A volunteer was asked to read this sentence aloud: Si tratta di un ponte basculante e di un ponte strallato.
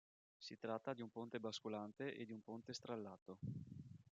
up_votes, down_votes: 1, 2